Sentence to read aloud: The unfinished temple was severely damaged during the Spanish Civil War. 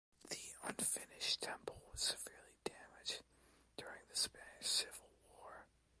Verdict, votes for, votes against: accepted, 2, 1